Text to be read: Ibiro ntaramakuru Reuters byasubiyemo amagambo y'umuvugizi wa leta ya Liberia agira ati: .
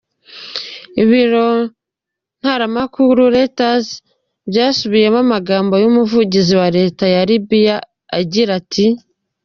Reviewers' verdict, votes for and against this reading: rejected, 0, 2